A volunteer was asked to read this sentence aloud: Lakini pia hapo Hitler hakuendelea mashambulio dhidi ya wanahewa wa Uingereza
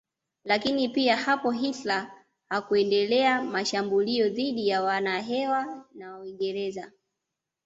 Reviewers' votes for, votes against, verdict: 1, 2, rejected